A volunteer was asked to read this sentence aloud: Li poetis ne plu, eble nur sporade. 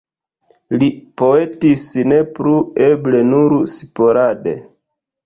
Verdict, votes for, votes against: rejected, 1, 2